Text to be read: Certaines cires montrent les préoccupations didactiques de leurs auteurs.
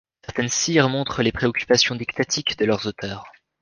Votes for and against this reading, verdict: 1, 2, rejected